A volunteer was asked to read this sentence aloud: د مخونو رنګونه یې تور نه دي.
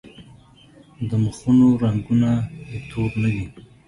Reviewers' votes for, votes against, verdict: 1, 2, rejected